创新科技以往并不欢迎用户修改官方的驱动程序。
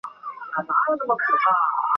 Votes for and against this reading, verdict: 0, 2, rejected